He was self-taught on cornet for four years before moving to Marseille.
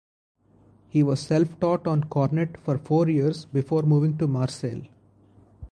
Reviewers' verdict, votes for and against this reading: accepted, 4, 0